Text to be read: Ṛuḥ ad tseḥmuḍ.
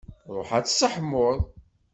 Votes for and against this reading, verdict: 2, 0, accepted